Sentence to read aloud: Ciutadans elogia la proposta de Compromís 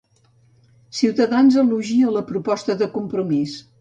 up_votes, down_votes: 2, 0